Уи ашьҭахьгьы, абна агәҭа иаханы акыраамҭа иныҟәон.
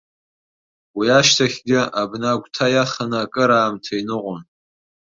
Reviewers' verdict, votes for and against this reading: accepted, 2, 1